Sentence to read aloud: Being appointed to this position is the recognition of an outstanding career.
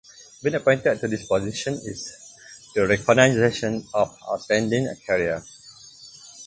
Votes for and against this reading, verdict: 2, 0, accepted